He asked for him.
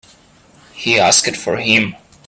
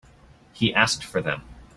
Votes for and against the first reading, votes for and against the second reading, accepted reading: 2, 0, 0, 2, first